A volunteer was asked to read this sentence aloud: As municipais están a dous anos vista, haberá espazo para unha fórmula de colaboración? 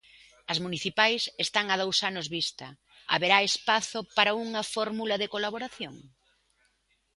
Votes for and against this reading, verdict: 2, 0, accepted